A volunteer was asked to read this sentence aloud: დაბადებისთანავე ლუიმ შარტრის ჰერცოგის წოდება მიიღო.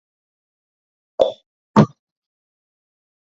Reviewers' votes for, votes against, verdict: 2, 0, accepted